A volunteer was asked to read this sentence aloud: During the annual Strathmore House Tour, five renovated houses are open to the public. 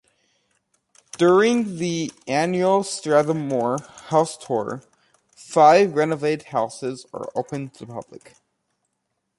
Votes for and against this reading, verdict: 0, 2, rejected